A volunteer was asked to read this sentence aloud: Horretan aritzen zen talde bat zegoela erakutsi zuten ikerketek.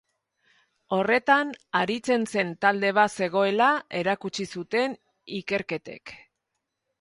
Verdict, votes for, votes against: accepted, 2, 0